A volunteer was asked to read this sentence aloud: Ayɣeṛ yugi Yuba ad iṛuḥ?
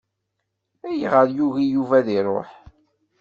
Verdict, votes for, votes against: accepted, 2, 0